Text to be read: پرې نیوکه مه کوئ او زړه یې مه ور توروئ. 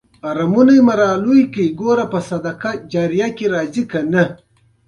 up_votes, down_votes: 0, 2